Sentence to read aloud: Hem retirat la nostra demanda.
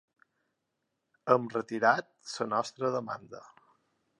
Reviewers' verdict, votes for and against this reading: rejected, 1, 2